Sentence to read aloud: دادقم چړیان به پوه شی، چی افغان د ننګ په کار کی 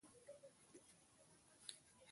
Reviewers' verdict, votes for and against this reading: rejected, 1, 2